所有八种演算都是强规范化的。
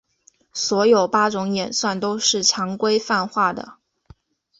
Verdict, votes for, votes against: accepted, 2, 0